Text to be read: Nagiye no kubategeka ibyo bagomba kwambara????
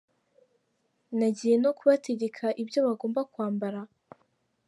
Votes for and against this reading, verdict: 3, 1, accepted